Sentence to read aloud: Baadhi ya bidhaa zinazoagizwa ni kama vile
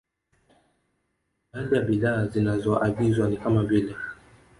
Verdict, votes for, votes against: rejected, 1, 2